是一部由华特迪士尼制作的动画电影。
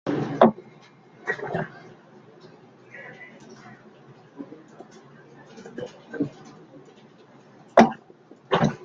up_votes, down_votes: 0, 2